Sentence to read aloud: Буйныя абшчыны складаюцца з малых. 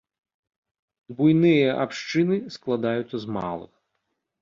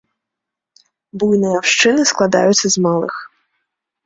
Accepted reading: first